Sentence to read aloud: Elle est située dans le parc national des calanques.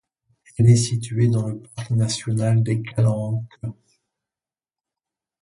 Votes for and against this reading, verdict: 1, 2, rejected